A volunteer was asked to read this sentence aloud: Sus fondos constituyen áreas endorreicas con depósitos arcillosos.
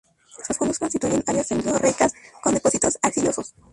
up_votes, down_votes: 0, 2